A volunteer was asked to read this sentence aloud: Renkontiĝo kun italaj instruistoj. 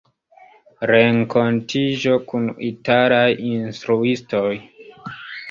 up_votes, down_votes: 0, 2